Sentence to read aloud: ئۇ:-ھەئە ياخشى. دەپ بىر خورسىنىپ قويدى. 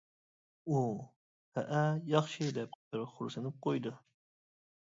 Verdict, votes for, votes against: rejected, 0, 2